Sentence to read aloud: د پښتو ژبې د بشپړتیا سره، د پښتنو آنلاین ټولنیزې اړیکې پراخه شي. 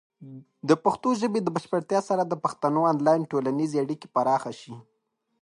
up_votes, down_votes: 0, 2